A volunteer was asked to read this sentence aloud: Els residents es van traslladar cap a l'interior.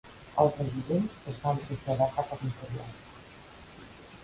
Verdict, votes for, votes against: accepted, 2, 0